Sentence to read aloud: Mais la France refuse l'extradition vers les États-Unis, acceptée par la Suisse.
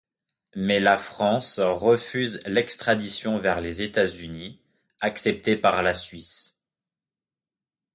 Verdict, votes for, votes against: accepted, 2, 1